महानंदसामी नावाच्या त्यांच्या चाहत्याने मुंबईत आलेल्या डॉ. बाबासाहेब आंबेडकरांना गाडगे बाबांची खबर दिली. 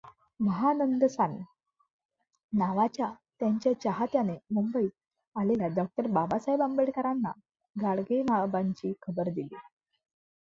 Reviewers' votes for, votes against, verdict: 1, 2, rejected